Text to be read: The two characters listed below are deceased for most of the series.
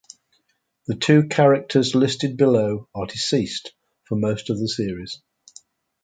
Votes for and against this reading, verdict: 2, 0, accepted